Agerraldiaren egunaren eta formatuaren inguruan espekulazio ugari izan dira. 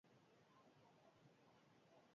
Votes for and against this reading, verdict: 0, 6, rejected